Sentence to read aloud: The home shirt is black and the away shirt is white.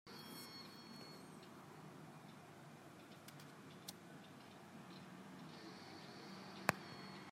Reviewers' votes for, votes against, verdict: 0, 2, rejected